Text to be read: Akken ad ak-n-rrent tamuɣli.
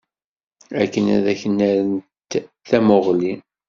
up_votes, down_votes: 2, 0